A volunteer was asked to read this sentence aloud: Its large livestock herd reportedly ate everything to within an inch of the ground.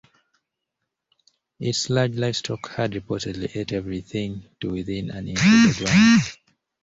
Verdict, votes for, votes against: rejected, 0, 2